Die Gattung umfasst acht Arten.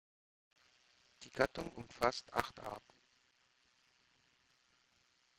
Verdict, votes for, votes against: accepted, 2, 0